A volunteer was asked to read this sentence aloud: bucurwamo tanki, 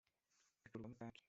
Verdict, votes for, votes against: rejected, 1, 3